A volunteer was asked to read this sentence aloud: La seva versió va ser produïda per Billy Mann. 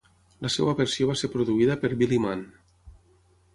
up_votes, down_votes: 9, 0